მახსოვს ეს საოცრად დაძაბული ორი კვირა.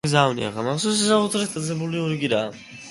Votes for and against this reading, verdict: 0, 2, rejected